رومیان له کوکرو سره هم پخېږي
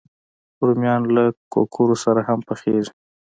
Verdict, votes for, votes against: accepted, 2, 0